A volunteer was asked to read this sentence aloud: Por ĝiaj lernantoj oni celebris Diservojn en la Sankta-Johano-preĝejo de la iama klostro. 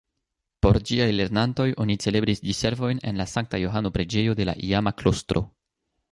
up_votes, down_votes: 2, 0